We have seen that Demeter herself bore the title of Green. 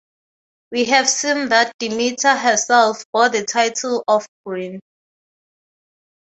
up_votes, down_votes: 0, 6